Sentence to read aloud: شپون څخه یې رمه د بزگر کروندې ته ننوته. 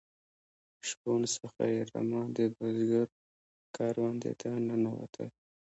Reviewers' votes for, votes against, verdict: 0, 2, rejected